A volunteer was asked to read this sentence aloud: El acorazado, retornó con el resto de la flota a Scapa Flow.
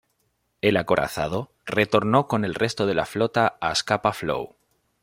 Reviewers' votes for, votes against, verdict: 2, 1, accepted